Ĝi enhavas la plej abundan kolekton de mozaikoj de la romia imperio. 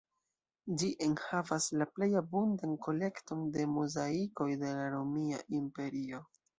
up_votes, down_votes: 2, 0